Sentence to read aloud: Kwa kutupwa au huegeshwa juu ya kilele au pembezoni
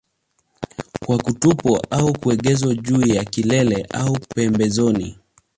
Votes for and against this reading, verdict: 0, 2, rejected